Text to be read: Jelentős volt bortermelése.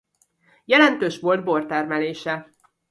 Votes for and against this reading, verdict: 0, 2, rejected